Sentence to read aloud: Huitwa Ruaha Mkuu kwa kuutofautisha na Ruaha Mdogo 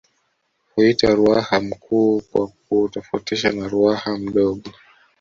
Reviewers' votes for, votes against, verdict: 2, 1, accepted